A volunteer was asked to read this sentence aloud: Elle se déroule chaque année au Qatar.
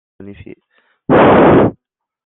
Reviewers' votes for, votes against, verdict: 0, 2, rejected